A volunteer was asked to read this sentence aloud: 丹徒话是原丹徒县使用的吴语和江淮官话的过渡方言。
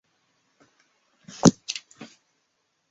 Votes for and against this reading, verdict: 1, 4, rejected